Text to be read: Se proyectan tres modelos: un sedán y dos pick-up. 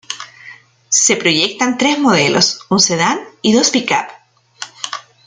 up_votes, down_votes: 2, 0